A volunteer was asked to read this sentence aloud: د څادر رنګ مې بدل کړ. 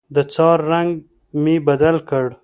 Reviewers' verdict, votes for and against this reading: rejected, 1, 2